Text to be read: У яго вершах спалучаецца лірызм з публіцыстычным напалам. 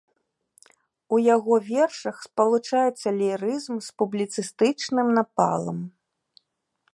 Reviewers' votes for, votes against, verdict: 2, 0, accepted